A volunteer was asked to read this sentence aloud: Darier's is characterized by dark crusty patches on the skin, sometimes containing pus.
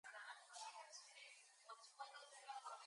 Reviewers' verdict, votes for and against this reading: rejected, 0, 2